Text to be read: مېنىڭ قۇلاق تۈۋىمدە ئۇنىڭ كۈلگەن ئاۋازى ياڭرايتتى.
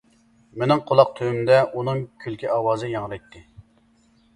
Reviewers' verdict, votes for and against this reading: rejected, 0, 2